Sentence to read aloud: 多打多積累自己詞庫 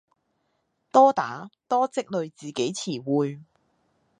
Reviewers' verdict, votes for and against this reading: rejected, 0, 2